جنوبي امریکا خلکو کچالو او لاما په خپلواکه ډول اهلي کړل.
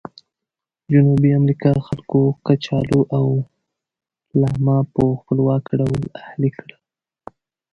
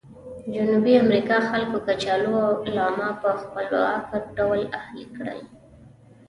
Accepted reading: first